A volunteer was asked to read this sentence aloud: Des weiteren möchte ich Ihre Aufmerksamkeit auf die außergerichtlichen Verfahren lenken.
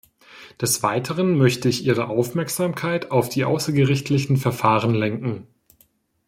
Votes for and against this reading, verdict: 2, 0, accepted